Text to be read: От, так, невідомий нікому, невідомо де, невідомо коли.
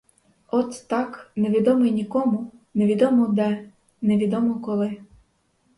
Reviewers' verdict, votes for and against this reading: rejected, 2, 2